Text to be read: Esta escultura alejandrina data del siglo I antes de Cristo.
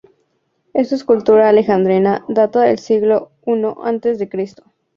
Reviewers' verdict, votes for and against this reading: rejected, 0, 2